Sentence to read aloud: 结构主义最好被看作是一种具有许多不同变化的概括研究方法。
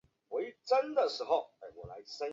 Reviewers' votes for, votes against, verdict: 0, 3, rejected